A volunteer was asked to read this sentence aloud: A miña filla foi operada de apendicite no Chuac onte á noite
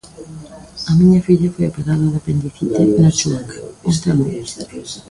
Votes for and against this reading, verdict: 0, 3, rejected